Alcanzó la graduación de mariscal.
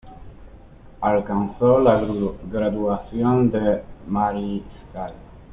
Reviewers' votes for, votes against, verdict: 2, 0, accepted